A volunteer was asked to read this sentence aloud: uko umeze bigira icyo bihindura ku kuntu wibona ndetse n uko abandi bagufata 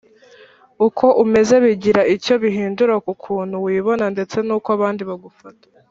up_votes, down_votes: 2, 0